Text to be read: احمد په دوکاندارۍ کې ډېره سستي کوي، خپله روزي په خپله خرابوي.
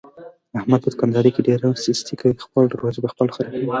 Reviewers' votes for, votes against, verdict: 1, 2, rejected